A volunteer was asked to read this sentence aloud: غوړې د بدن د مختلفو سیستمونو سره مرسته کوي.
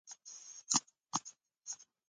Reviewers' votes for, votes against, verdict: 2, 1, accepted